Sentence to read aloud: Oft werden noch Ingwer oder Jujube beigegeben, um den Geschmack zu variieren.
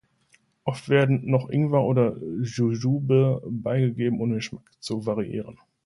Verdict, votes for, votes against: rejected, 1, 2